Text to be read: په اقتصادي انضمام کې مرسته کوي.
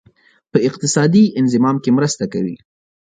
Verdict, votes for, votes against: accepted, 2, 0